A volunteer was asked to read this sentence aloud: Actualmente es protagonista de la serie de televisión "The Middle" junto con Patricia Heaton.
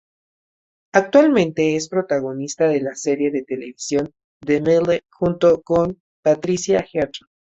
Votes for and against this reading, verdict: 2, 2, rejected